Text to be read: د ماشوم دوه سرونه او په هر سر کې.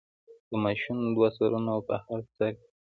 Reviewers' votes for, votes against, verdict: 0, 2, rejected